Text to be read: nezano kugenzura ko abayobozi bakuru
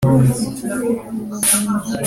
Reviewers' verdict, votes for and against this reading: rejected, 0, 2